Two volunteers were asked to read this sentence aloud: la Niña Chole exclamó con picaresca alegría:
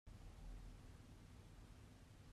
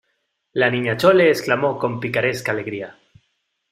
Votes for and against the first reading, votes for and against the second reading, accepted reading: 0, 2, 2, 0, second